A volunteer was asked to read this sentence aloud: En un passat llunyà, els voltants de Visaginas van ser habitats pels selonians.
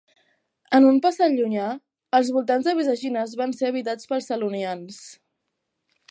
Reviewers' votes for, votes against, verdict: 2, 0, accepted